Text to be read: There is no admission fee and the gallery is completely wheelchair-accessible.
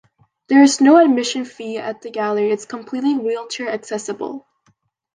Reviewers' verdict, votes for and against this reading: rejected, 1, 2